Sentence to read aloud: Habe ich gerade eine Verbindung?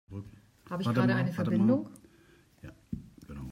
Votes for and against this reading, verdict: 1, 2, rejected